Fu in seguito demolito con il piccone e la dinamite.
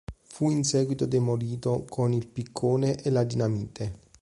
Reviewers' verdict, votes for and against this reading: accepted, 2, 0